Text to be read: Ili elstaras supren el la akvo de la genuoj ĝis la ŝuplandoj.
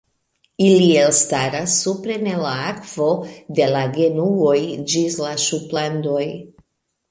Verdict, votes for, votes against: accepted, 2, 0